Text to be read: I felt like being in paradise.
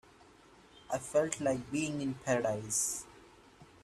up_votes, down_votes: 2, 0